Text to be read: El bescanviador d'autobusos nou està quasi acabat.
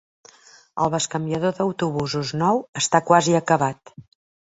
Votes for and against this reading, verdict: 3, 0, accepted